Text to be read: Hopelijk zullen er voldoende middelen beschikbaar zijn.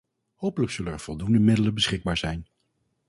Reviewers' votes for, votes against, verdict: 0, 2, rejected